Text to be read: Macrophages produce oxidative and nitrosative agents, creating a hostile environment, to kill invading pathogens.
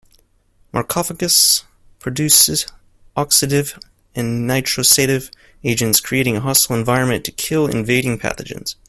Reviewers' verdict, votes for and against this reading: rejected, 1, 2